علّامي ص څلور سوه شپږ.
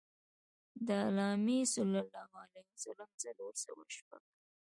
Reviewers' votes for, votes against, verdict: 1, 2, rejected